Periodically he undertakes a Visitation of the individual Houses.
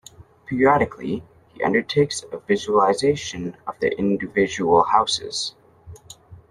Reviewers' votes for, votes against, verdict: 2, 1, accepted